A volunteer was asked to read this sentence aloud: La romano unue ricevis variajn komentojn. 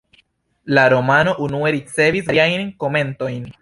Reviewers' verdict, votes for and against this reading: rejected, 1, 2